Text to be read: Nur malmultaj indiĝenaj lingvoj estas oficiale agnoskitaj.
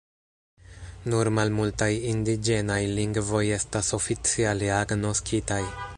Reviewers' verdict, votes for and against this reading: accepted, 2, 0